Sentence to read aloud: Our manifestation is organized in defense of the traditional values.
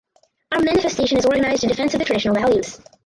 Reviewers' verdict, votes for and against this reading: rejected, 2, 4